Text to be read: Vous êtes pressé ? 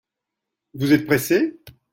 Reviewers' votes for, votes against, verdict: 2, 0, accepted